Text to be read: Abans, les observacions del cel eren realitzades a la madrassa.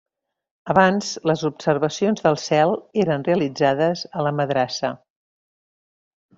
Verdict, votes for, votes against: accepted, 3, 0